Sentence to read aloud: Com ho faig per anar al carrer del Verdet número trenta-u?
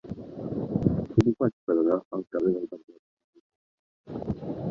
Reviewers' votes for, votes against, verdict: 0, 2, rejected